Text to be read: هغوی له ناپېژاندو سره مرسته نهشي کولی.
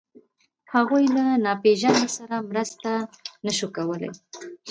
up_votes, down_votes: 1, 2